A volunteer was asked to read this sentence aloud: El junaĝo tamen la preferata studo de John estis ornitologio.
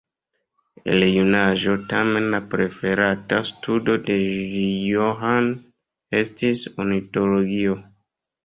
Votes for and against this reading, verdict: 0, 2, rejected